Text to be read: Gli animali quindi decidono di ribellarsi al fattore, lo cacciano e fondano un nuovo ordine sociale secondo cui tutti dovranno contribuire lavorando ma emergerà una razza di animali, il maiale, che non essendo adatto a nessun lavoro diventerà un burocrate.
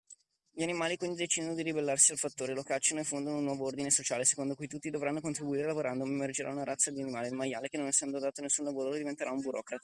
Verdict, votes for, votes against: accepted, 2, 1